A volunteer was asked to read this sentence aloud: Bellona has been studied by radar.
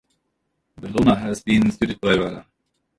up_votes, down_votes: 0, 2